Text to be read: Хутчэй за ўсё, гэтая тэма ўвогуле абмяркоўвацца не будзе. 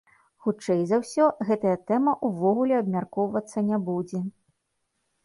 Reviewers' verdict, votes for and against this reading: accepted, 2, 0